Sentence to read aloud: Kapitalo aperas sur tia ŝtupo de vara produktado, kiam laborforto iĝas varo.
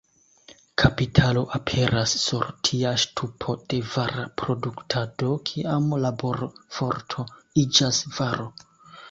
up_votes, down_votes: 2, 0